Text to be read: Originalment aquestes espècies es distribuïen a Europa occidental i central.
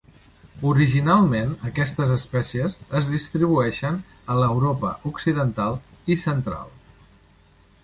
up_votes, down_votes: 0, 3